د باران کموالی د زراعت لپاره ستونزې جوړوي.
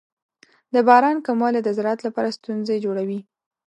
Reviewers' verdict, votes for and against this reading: accepted, 4, 0